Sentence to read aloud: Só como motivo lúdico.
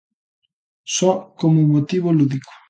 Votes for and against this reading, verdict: 2, 0, accepted